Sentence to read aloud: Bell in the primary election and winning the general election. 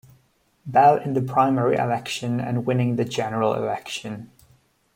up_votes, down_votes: 2, 0